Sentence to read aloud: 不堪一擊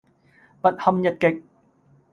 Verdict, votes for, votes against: accepted, 2, 0